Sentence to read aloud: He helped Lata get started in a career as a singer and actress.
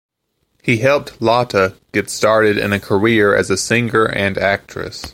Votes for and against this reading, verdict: 2, 1, accepted